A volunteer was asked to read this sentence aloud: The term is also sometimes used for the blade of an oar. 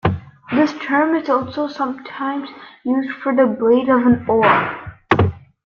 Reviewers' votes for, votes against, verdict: 0, 2, rejected